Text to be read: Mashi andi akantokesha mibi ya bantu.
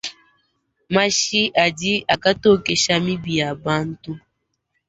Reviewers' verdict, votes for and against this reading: accepted, 2, 0